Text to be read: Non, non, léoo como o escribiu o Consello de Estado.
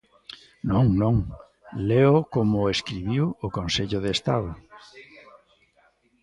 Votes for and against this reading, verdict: 1, 2, rejected